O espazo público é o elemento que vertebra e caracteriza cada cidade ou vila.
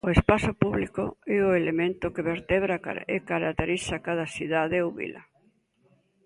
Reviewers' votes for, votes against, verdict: 0, 2, rejected